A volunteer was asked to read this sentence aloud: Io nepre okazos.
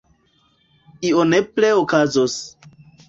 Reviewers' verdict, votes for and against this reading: accepted, 2, 1